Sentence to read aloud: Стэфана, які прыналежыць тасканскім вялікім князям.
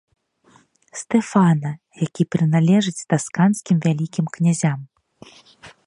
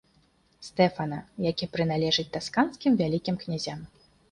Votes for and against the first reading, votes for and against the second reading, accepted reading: 0, 2, 2, 0, second